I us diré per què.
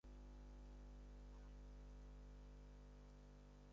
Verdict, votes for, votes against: rejected, 2, 6